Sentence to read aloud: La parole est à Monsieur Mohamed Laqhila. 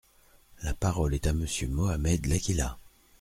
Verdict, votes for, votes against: accepted, 3, 0